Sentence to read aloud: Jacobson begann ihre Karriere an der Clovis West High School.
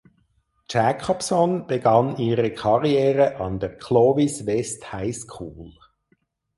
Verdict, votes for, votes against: accepted, 4, 0